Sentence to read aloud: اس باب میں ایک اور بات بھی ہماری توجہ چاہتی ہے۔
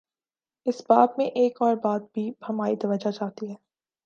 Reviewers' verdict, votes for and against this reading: accepted, 5, 1